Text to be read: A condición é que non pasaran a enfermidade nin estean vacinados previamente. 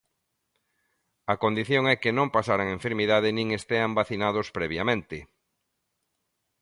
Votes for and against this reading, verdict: 2, 0, accepted